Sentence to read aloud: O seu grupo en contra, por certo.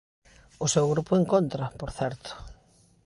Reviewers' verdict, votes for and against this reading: accepted, 2, 0